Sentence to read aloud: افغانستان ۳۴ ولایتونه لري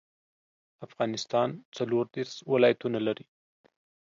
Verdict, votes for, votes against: rejected, 0, 2